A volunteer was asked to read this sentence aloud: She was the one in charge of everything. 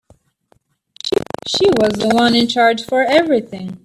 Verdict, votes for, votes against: rejected, 0, 2